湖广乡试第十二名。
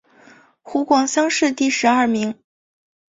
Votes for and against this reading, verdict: 3, 0, accepted